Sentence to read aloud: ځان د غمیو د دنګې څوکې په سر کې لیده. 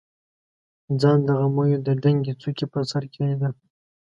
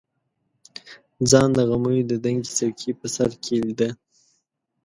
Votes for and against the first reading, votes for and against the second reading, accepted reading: 2, 0, 1, 2, first